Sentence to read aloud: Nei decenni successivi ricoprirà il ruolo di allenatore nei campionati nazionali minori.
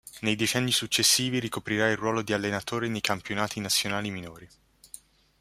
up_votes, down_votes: 0, 2